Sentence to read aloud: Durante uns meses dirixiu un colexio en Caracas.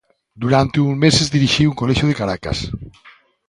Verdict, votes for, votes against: rejected, 1, 2